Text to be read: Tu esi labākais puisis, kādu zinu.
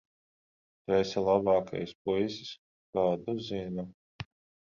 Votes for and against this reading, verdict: 10, 0, accepted